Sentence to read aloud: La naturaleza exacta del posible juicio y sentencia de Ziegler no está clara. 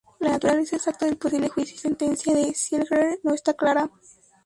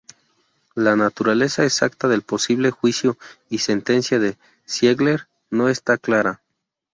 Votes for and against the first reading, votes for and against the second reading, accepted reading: 2, 0, 0, 2, first